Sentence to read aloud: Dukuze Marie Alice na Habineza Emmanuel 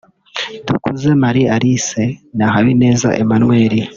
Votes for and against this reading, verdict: 3, 0, accepted